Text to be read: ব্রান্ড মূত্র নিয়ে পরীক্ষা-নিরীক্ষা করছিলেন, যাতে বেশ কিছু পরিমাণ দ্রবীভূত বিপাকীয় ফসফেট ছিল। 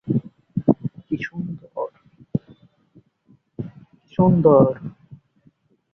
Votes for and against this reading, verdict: 0, 2, rejected